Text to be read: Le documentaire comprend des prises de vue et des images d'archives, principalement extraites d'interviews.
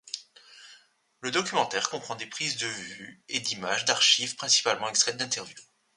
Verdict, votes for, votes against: rejected, 0, 2